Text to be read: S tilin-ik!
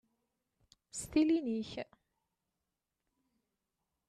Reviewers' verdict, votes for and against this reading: rejected, 0, 2